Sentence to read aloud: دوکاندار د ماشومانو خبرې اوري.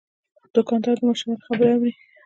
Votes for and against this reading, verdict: 2, 0, accepted